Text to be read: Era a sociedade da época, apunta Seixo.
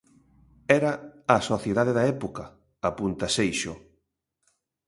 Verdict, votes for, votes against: accepted, 2, 0